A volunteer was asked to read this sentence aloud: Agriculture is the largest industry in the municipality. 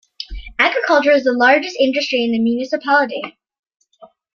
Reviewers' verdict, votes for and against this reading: accepted, 2, 0